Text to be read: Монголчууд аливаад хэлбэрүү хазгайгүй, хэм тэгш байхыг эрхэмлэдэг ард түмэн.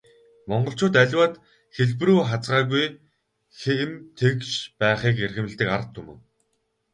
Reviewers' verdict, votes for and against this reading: rejected, 0, 2